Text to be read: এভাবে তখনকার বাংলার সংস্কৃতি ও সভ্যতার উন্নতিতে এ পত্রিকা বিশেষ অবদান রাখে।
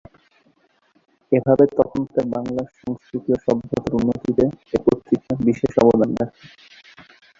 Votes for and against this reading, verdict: 3, 3, rejected